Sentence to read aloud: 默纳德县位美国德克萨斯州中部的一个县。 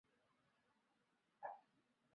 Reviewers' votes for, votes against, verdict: 0, 3, rejected